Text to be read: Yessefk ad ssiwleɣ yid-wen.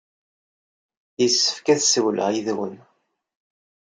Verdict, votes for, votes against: accepted, 2, 0